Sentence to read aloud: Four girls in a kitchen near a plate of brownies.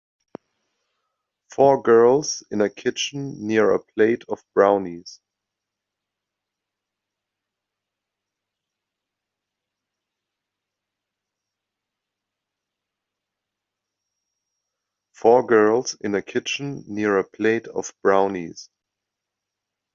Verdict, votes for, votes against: rejected, 0, 2